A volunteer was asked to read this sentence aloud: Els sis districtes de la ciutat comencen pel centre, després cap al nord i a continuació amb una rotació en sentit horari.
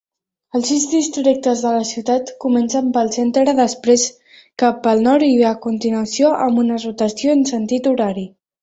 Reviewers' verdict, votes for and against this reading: rejected, 1, 5